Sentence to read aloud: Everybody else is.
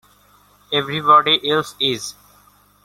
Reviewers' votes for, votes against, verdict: 2, 1, accepted